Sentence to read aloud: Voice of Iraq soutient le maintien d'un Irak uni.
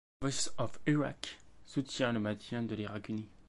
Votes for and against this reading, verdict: 0, 2, rejected